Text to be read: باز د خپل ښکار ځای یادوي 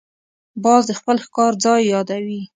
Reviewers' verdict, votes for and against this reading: accepted, 2, 0